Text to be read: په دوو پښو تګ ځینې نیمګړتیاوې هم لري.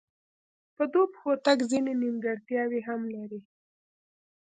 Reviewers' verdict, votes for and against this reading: accepted, 2, 1